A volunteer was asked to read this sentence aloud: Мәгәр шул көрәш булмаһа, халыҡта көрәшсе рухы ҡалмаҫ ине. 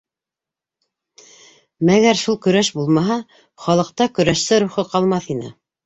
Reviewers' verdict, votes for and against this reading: accepted, 2, 0